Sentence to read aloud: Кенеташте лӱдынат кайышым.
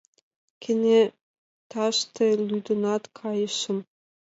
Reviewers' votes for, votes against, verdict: 2, 0, accepted